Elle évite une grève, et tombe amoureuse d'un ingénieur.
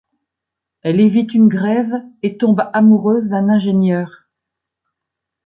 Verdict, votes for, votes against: accepted, 2, 0